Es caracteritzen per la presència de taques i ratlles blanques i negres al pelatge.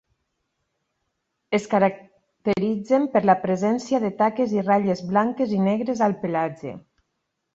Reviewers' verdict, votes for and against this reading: rejected, 2, 4